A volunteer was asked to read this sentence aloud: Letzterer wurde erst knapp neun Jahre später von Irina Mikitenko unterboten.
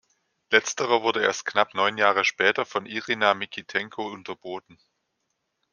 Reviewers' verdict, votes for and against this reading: accepted, 2, 0